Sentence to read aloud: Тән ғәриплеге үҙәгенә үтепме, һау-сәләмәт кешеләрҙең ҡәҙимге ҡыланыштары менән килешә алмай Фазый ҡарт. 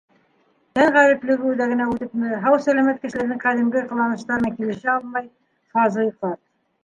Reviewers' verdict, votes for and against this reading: accepted, 2, 1